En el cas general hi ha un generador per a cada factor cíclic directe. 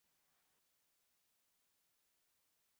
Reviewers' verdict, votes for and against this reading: rejected, 1, 2